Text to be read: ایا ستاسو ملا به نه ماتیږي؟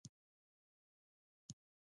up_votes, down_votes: 0, 2